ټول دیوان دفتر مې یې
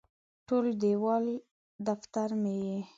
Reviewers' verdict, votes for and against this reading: accepted, 2, 0